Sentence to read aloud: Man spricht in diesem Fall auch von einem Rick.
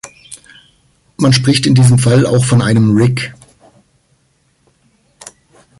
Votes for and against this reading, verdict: 2, 0, accepted